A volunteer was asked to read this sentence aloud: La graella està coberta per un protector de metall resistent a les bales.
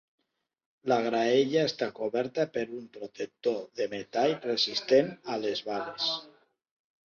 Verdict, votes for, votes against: rejected, 0, 2